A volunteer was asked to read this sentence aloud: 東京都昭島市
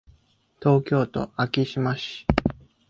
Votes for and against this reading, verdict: 2, 0, accepted